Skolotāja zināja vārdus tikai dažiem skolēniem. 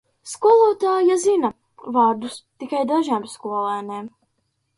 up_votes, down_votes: 0, 2